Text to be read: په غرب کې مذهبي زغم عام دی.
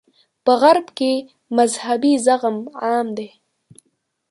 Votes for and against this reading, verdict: 0, 2, rejected